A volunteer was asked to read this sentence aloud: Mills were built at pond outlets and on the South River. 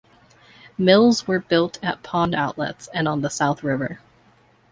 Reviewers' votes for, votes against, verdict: 2, 1, accepted